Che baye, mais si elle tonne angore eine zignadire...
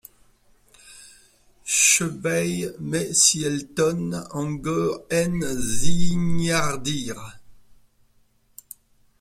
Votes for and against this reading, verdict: 0, 2, rejected